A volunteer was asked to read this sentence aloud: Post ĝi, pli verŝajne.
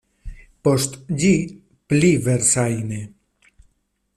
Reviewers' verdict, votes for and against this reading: rejected, 1, 2